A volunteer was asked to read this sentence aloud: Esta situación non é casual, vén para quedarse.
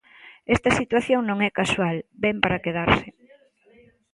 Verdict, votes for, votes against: rejected, 1, 2